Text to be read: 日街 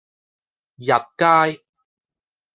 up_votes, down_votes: 2, 1